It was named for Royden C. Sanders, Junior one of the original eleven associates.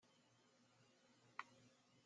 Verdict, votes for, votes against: rejected, 0, 2